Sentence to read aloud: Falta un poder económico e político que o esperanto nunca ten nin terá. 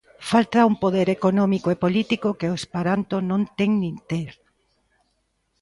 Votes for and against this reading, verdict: 1, 2, rejected